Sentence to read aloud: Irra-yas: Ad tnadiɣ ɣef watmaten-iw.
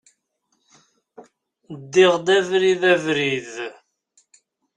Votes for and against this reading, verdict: 0, 2, rejected